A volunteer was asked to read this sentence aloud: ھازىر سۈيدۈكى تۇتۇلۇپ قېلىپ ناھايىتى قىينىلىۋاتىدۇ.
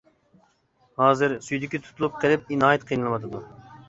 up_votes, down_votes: 0, 2